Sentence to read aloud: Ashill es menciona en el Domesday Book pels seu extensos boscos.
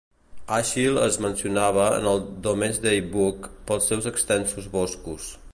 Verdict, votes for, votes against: rejected, 1, 2